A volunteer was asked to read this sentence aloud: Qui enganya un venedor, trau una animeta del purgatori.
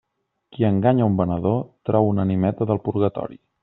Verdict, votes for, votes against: accepted, 2, 1